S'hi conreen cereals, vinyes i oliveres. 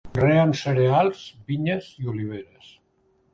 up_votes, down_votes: 0, 2